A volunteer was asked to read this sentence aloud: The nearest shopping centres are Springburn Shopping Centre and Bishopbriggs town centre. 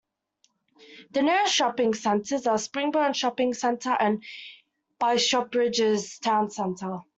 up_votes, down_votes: 2, 1